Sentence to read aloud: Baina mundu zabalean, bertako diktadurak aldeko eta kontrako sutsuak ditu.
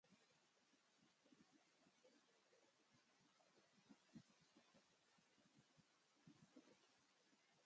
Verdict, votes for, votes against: rejected, 0, 2